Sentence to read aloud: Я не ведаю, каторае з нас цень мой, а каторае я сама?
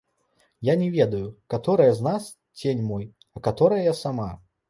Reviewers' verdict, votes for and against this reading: rejected, 1, 2